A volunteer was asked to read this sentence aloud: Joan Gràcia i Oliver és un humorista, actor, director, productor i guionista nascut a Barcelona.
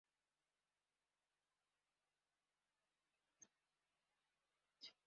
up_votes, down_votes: 0, 2